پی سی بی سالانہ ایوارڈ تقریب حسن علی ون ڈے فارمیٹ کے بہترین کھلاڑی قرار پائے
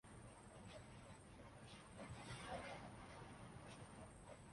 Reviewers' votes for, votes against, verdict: 0, 3, rejected